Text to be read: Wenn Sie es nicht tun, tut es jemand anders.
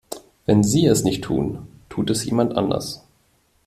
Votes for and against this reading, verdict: 2, 0, accepted